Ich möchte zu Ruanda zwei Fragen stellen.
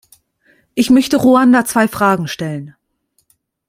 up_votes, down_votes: 0, 2